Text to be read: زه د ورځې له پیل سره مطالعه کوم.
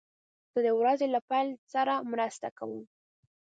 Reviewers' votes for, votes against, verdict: 1, 2, rejected